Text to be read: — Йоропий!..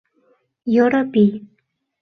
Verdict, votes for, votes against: accepted, 2, 0